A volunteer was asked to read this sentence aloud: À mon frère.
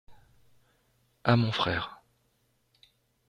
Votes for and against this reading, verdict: 2, 0, accepted